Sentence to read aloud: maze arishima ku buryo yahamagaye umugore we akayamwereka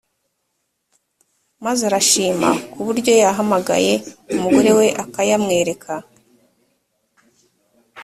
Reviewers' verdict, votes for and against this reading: rejected, 1, 2